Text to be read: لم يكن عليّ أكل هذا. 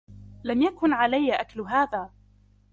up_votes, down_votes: 2, 1